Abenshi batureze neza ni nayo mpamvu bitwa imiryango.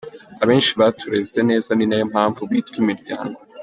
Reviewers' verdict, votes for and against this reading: accepted, 2, 0